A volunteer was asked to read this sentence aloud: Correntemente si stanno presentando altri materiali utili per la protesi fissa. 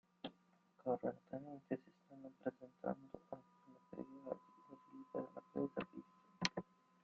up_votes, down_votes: 0, 2